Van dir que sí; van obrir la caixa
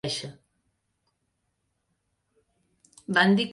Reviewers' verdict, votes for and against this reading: rejected, 0, 2